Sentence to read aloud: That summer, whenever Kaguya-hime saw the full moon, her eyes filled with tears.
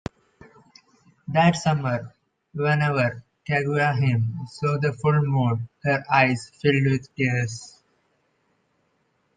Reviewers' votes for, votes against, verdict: 2, 0, accepted